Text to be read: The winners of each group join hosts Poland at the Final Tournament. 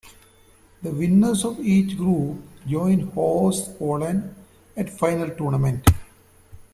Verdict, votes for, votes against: rejected, 1, 2